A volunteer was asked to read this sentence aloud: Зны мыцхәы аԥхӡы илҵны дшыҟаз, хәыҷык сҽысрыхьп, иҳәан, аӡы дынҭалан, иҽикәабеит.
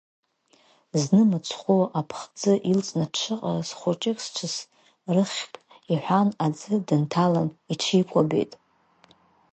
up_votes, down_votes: 1, 2